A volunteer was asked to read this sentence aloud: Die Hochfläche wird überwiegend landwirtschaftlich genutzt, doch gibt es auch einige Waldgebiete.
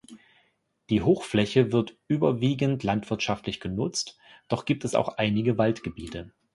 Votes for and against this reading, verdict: 2, 0, accepted